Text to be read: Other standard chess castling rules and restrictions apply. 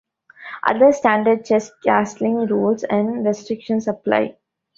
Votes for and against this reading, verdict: 2, 0, accepted